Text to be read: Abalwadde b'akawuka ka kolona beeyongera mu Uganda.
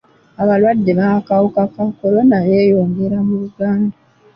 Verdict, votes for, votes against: accepted, 2, 1